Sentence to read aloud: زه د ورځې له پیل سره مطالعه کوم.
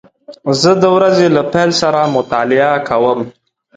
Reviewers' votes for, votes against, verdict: 2, 0, accepted